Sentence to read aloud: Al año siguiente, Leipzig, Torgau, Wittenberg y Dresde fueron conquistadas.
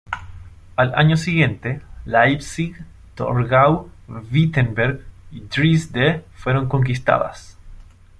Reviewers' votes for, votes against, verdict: 2, 0, accepted